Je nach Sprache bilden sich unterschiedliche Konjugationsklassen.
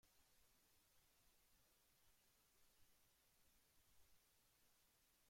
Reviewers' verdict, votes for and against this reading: rejected, 0, 2